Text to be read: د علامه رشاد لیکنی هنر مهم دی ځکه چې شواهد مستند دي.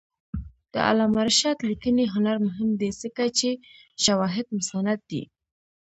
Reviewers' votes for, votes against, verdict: 0, 2, rejected